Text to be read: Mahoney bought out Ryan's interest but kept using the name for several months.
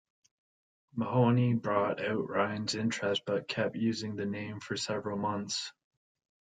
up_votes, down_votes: 1, 2